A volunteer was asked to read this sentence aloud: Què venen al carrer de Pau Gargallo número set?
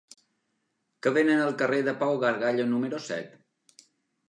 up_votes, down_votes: 0, 2